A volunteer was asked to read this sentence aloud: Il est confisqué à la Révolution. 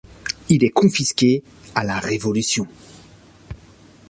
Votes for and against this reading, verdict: 2, 0, accepted